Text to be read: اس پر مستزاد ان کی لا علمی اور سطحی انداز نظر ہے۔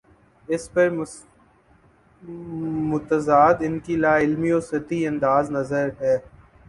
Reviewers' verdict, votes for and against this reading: rejected, 0, 2